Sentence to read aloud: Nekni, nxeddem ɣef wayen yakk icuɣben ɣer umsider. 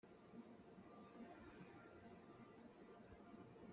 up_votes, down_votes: 0, 2